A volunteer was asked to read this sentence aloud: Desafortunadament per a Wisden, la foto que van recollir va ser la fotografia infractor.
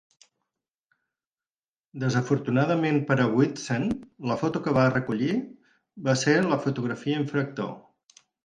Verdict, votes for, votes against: rejected, 2, 4